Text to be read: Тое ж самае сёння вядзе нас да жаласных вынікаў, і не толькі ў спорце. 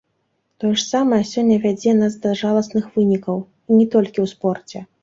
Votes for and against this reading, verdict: 1, 3, rejected